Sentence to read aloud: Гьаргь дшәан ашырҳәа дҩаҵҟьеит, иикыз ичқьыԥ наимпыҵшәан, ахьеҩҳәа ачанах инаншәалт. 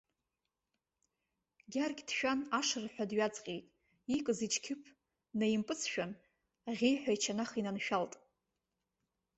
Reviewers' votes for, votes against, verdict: 4, 2, accepted